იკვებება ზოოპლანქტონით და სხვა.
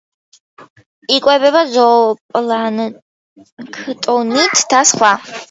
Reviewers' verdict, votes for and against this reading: rejected, 1, 2